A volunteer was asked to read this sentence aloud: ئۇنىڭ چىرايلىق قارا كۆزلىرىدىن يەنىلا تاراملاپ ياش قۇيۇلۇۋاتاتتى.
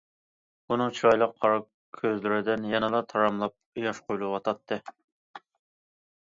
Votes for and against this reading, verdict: 2, 0, accepted